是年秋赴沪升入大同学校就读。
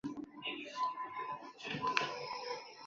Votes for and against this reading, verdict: 0, 3, rejected